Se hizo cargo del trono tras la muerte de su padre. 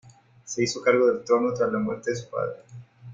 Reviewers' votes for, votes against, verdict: 2, 0, accepted